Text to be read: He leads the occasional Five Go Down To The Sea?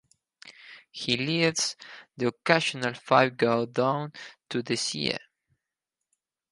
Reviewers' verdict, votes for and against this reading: rejected, 0, 4